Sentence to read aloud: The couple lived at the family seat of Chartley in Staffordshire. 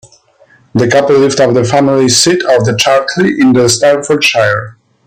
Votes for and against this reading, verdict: 1, 2, rejected